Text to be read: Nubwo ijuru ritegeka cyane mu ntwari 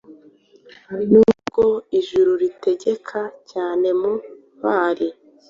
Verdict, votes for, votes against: accepted, 2, 0